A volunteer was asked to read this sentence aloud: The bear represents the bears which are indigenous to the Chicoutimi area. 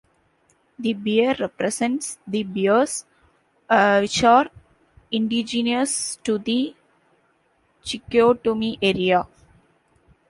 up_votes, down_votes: 2, 1